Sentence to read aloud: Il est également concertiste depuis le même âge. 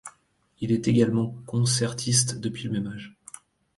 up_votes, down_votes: 2, 0